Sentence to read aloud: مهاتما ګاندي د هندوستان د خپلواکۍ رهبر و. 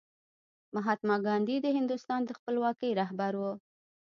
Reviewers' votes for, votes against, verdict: 2, 1, accepted